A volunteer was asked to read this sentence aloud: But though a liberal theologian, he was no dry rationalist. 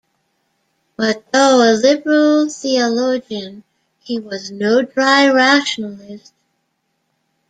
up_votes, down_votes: 2, 0